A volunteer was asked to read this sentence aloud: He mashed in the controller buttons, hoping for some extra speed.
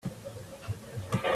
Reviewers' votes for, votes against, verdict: 0, 2, rejected